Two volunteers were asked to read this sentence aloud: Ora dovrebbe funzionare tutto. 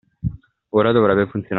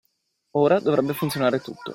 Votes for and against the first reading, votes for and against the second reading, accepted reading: 0, 2, 2, 0, second